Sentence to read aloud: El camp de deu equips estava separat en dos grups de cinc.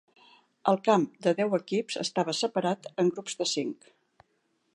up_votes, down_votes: 1, 2